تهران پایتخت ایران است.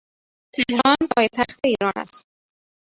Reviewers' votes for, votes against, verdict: 1, 2, rejected